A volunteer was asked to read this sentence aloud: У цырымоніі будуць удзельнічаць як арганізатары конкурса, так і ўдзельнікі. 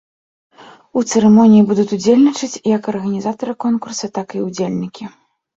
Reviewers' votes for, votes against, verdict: 1, 2, rejected